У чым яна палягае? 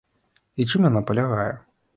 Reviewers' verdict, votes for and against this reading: rejected, 0, 2